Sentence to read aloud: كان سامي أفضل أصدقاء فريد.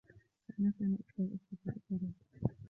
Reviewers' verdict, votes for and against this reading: rejected, 1, 2